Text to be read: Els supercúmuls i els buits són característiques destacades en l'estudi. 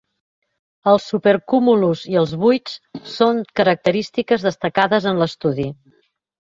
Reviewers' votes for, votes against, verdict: 1, 2, rejected